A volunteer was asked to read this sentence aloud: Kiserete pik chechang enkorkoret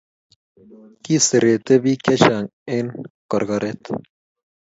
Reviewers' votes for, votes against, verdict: 2, 0, accepted